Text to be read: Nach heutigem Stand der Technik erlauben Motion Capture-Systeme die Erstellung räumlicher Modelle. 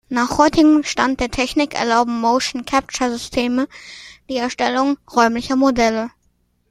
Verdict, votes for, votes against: accepted, 2, 0